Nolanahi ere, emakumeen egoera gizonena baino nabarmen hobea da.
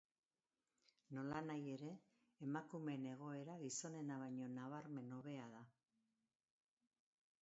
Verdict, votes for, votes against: rejected, 0, 2